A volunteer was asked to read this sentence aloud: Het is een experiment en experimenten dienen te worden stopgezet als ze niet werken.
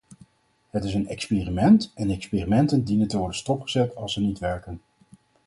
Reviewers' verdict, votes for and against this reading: accepted, 4, 0